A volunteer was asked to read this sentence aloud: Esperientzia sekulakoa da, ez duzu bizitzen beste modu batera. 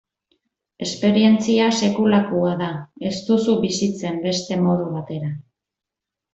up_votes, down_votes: 2, 0